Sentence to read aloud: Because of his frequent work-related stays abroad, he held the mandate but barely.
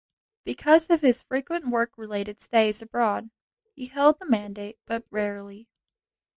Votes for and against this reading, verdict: 2, 0, accepted